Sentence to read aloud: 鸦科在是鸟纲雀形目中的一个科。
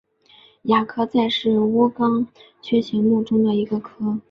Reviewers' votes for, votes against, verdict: 2, 0, accepted